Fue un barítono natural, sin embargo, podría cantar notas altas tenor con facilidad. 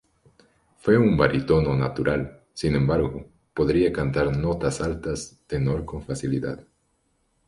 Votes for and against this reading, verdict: 0, 2, rejected